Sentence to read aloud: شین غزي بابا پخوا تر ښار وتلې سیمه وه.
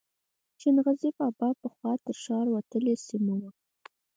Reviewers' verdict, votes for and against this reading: accepted, 4, 0